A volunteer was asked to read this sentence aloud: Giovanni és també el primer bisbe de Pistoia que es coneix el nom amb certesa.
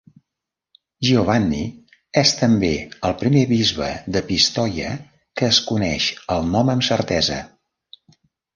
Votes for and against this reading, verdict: 2, 0, accepted